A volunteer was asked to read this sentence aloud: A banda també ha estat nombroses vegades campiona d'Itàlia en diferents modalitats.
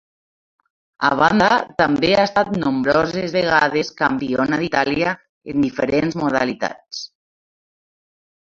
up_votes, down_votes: 0, 2